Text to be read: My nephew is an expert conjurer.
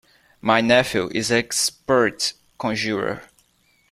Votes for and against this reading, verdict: 1, 2, rejected